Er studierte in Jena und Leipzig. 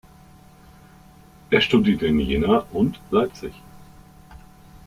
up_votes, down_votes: 1, 2